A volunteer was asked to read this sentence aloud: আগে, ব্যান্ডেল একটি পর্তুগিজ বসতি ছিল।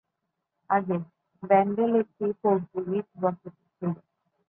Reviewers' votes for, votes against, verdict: 1, 2, rejected